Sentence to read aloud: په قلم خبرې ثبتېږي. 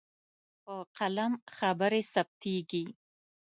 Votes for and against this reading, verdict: 2, 0, accepted